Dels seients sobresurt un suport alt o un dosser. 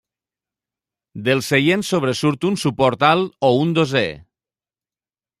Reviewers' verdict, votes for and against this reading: accepted, 2, 0